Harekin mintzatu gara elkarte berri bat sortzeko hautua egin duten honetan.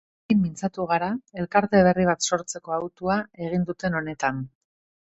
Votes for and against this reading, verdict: 0, 2, rejected